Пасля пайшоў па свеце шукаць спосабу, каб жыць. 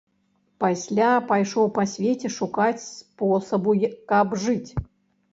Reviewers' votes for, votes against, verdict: 1, 2, rejected